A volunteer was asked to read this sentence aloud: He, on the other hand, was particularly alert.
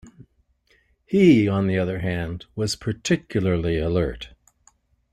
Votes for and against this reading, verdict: 2, 0, accepted